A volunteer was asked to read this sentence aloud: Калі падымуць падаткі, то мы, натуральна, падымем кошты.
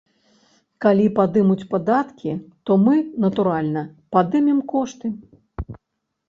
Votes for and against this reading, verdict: 3, 0, accepted